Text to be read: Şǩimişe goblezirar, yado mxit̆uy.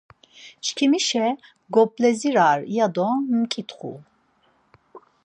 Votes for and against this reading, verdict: 2, 4, rejected